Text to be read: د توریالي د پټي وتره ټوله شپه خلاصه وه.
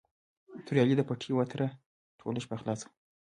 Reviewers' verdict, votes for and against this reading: rejected, 1, 2